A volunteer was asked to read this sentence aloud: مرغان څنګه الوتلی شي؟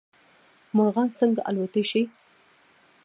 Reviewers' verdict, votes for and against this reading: rejected, 1, 2